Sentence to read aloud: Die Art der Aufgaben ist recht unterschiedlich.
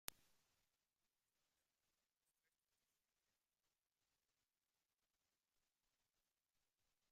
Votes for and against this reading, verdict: 0, 2, rejected